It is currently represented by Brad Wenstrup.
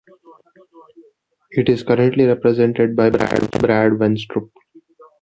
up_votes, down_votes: 1, 2